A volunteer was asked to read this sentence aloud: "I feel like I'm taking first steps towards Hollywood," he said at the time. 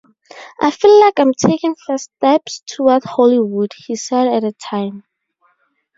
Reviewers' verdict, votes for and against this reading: rejected, 2, 4